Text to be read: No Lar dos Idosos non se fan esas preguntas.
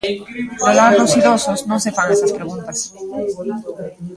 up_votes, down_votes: 1, 2